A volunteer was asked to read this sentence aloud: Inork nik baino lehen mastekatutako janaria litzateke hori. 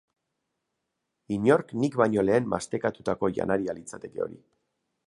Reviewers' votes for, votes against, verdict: 2, 0, accepted